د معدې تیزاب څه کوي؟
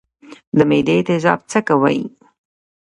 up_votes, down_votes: 2, 0